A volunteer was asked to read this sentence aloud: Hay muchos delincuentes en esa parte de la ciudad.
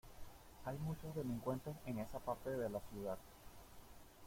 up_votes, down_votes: 2, 1